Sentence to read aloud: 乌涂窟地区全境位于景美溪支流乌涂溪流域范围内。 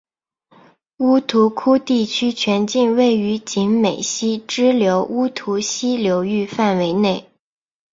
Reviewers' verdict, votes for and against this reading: accepted, 2, 0